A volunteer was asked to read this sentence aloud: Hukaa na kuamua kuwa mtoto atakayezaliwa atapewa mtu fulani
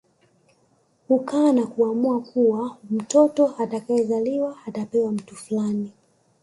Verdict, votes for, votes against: accepted, 2, 0